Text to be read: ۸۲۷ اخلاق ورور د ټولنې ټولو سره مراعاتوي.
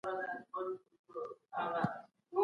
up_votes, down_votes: 0, 2